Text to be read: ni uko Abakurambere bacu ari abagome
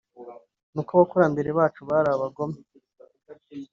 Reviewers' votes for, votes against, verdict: 0, 2, rejected